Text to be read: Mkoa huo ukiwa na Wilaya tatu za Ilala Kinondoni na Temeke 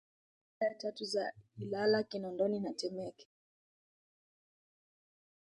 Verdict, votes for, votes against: rejected, 0, 2